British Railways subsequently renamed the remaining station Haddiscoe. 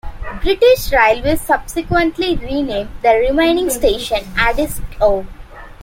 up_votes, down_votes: 2, 0